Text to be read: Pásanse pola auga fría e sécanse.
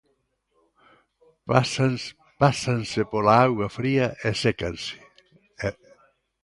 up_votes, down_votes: 0, 2